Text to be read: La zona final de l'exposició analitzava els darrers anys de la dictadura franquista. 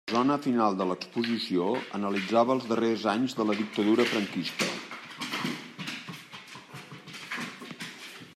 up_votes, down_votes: 1, 2